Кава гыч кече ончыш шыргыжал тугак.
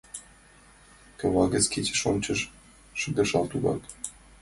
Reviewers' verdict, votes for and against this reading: rejected, 0, 2